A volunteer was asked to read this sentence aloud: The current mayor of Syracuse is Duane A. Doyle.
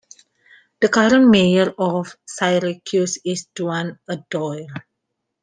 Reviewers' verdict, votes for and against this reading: rejected, 1, 2